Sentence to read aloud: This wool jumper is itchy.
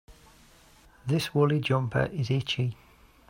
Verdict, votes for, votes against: rejected, 0, 2